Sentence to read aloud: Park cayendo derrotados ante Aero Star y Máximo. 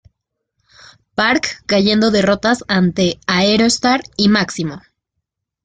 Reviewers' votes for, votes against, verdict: 1, 2, rejected